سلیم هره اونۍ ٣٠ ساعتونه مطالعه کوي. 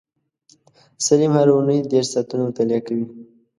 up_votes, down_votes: 0, 2